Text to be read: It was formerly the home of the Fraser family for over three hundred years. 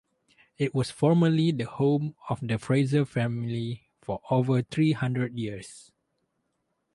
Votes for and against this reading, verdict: 0, 2, rejected